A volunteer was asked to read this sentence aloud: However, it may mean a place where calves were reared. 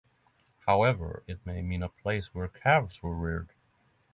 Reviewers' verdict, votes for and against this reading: accepted, 6, 0